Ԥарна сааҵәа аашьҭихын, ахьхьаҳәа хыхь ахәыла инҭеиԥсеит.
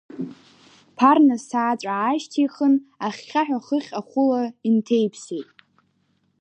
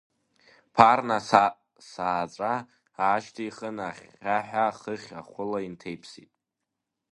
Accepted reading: first